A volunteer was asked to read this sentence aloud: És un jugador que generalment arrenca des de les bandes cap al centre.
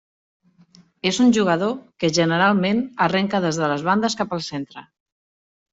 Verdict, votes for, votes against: accepted, 3, 0